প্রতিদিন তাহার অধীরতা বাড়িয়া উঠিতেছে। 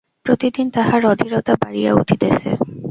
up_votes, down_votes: 0, 2